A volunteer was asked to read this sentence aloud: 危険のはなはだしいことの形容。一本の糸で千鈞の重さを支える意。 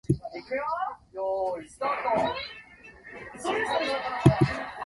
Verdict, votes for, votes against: rejected, 0, 2